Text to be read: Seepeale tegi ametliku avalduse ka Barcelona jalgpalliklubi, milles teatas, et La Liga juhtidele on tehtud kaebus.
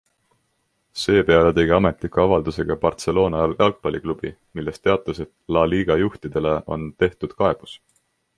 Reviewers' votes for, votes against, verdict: 2, 0, accepted